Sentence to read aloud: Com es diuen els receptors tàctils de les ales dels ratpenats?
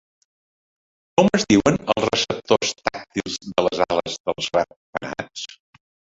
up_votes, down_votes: 0, 2